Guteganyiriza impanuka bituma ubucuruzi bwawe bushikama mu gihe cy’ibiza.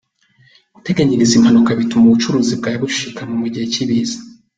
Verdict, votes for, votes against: accepted, 2, 0